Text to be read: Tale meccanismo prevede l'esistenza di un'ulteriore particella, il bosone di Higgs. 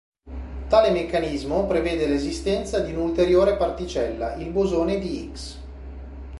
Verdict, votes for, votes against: accepted, 3, 0